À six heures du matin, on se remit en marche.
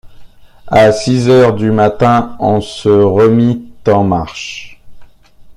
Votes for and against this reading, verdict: 0, 2, rejected